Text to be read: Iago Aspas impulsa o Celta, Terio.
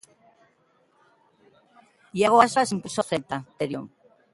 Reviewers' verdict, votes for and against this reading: rejected, 0, 2